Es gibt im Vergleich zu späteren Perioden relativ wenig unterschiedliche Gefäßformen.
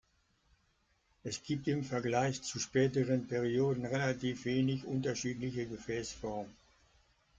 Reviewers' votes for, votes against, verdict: 2, 0, accepted